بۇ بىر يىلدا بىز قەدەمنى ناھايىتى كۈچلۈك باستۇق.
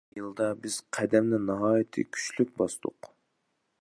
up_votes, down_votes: 0, 2